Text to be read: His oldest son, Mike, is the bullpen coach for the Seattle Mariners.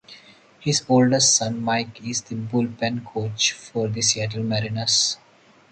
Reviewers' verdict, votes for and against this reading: rejected, 0, 2